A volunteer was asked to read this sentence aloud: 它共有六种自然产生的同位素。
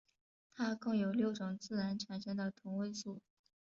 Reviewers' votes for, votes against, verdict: 2, 1, accepted